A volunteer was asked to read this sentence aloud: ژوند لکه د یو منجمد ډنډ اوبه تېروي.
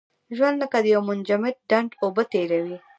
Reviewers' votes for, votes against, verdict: 1, 2, rejected